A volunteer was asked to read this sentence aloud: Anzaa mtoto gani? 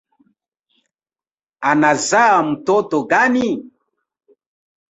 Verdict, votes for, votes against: accepted, 5, 2